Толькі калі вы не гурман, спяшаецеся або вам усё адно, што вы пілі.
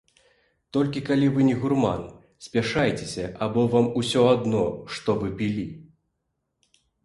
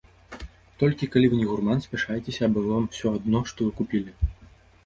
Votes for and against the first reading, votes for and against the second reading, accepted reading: 2, 0, 0, 2, first